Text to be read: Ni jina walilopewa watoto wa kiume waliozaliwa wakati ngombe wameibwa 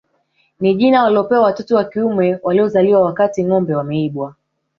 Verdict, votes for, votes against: accepted, 3, 0